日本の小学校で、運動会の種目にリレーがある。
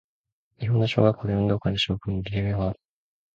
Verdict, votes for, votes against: rejected, 0, 2